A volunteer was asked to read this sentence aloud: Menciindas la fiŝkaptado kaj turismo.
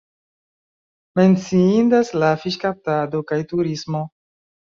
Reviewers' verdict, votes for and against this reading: rejected, 0, 2